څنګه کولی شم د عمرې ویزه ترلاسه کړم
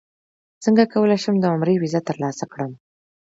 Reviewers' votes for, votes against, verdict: 2, 0, accepted